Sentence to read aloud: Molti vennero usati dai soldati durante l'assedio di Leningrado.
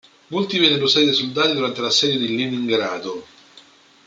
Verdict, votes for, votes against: rejected, 0, 2